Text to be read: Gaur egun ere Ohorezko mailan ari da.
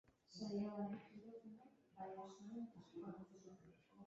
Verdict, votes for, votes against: rejected, 0, 2